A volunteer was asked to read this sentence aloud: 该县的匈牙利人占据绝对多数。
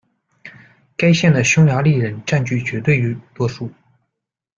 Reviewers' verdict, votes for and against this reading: rejected, 1, 2